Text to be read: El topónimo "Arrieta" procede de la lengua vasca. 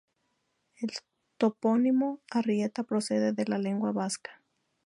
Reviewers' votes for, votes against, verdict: 2, 0, accepted